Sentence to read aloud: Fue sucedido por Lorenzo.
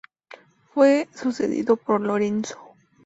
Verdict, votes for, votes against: accepted, 2, 0